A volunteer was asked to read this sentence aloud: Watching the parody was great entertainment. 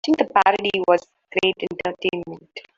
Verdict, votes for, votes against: rejected, 0, 2